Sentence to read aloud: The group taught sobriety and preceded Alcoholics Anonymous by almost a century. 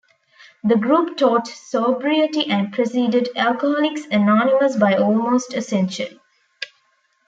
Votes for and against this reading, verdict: 1, 2, rejected